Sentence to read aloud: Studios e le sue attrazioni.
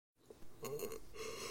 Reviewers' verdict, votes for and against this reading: rejected, 0, 2